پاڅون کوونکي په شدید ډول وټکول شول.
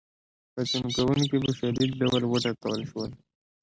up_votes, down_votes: 2, 0